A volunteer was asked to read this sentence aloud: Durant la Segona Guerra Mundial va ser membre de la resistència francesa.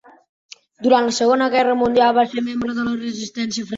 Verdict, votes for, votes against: rejected, 0, 2